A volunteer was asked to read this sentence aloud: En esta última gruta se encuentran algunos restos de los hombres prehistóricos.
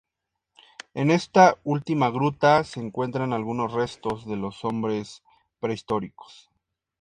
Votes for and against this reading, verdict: 2, 0, accepted